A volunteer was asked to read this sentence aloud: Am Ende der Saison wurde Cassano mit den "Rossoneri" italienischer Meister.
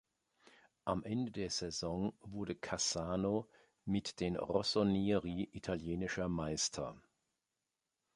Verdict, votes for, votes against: accepted, 3, 0